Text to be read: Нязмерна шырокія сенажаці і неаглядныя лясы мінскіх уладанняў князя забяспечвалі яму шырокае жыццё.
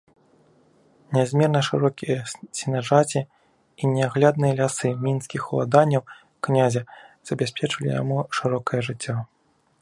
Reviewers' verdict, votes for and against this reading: rejected, 1, 2